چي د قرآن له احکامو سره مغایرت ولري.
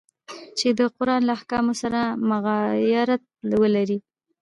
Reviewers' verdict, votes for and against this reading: accepted, 2, 1